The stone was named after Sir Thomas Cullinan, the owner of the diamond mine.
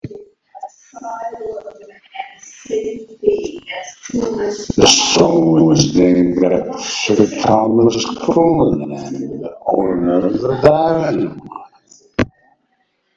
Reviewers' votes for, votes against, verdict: 1, 2, rejected